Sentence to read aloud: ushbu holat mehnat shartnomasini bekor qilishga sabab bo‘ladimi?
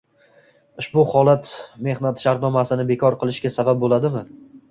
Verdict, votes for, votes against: rejected, 0, 2